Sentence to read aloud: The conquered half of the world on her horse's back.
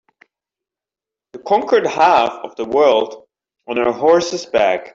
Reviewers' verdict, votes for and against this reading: accepted, 2, 0